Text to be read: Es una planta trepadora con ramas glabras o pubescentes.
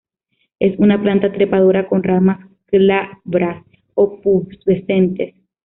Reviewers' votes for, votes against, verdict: 0, 2, rejected